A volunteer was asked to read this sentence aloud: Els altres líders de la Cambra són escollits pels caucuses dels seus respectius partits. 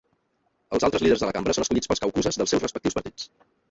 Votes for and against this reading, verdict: 0, 2, rejected